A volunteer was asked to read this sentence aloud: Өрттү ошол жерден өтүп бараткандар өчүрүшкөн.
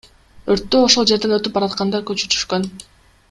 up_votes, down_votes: 2, 0